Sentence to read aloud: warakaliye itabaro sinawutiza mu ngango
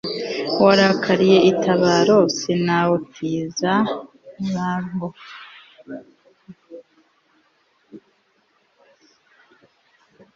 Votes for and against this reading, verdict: 1, 2, rejected